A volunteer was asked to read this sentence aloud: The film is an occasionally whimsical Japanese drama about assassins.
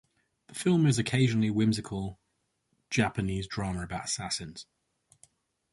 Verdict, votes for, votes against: rejected, 0, 4